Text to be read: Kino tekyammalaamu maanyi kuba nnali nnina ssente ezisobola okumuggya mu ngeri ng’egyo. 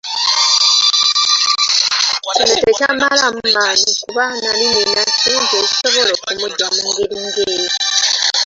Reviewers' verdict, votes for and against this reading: accepted, 2, 1